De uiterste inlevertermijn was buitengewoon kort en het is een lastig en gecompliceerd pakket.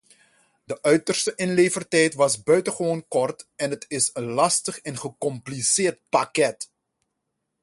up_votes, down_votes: 0, 2